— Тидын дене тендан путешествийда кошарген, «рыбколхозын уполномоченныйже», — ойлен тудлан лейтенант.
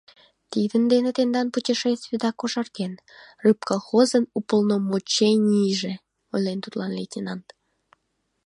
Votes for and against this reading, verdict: 0, 3, rejected